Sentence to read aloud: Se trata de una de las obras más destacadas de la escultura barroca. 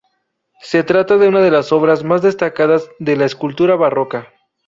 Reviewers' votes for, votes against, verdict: 2, 0, accepted